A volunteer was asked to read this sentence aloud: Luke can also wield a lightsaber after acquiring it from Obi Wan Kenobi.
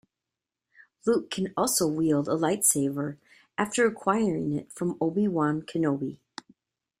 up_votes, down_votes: 2, 0